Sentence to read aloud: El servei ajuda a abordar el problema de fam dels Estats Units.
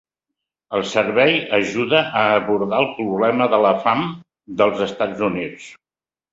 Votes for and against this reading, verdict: 0, 2, rejected